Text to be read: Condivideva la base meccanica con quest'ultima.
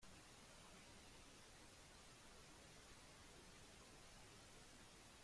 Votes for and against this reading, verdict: 0, 2, rejected